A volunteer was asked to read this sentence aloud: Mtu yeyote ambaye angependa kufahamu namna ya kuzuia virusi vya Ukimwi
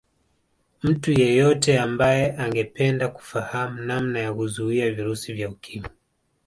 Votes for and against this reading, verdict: 2, 0, accepted